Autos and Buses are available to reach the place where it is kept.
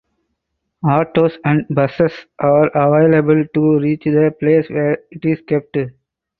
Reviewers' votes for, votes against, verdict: 4, 0, accepted